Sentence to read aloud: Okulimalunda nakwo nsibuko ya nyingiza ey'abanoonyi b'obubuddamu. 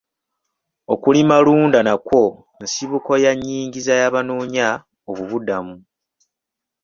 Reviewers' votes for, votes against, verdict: 2, 0, accepted